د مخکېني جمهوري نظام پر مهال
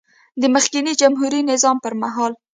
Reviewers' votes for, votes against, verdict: 2, 0, accepted